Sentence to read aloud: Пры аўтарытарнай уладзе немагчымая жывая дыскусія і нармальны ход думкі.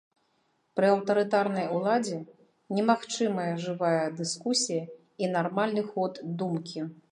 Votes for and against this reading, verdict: 2, 0, accepted